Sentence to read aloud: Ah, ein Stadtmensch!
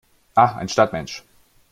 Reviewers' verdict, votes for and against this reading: rejected, 1, 2